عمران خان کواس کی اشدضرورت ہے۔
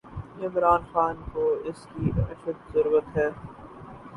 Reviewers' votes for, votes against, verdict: 4, 0, accepted